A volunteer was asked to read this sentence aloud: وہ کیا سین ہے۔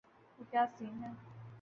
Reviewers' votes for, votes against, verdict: 1, 2, rejected